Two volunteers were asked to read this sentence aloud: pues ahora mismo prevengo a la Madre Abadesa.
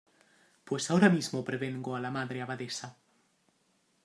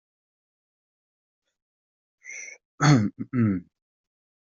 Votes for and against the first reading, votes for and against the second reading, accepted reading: 2, 0, 0, 2, first